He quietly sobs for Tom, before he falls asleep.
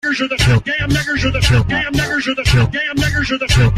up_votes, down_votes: 0, 2